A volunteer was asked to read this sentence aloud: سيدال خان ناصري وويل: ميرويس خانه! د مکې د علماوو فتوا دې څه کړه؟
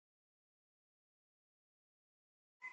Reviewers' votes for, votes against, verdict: 1, 2, rejected